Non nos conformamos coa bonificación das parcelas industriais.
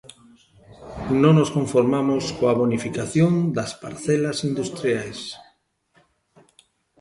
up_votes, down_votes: 1, 2